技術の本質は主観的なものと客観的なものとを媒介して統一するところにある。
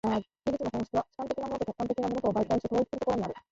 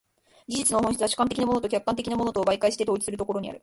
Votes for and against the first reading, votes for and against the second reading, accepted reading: 9, 10, 2, 1, second